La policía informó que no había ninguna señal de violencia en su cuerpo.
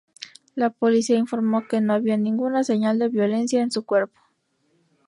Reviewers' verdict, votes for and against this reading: rejected, 2, 2